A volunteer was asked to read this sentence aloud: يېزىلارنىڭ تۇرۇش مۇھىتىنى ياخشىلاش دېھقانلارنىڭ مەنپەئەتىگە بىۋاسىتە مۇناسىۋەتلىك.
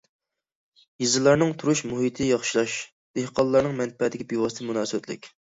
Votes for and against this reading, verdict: 0, 2, rejected